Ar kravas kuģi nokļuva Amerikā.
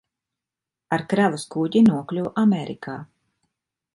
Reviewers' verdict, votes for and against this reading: accepted, 2, 0